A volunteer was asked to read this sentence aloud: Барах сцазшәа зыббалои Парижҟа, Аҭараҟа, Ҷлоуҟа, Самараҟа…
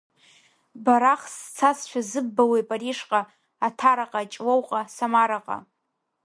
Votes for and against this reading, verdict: 2, 0, accepted